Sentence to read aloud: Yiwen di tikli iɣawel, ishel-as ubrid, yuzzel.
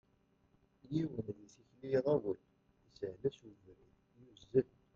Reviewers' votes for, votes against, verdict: 1, 2, rejected